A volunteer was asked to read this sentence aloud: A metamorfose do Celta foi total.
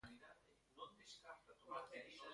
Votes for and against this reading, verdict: 0, 2, rejected